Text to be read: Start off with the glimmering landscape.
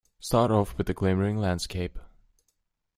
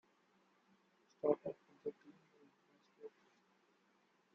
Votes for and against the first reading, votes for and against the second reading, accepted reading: 2, 0, 1, 2, first